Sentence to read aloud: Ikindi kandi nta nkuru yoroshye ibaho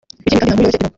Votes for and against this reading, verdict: 1, 2, rejected